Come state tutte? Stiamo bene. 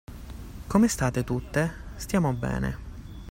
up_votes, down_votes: 2, 0